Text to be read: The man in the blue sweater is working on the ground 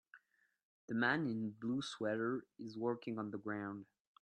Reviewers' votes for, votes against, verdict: 2, 1, accepted